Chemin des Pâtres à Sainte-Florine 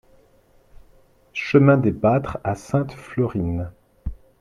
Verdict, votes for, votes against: accepted, 2, 0